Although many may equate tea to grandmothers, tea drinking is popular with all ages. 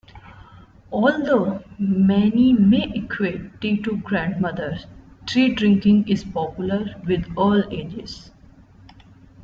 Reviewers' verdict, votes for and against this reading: accepted, 2, 1